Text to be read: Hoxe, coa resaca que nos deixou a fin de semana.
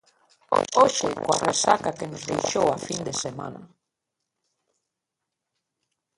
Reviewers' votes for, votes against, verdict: 1, 2, rejected